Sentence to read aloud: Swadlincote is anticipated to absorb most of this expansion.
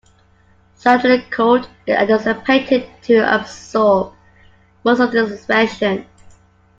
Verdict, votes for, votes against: rejected, 1, 2